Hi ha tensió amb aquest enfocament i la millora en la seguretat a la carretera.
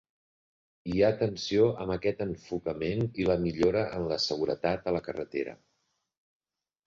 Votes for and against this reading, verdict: 6, 0, accepted